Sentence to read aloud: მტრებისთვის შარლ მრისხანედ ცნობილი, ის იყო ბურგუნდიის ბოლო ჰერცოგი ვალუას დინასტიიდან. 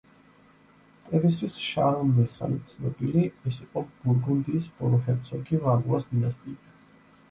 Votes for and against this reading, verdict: 1, 2, rejected